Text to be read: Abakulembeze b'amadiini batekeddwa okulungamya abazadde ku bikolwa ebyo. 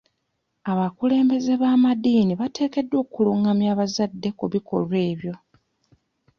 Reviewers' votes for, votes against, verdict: 2, 1, accepted